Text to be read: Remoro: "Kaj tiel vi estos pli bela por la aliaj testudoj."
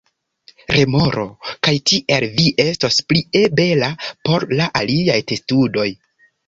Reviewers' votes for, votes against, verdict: 1, 2, rejected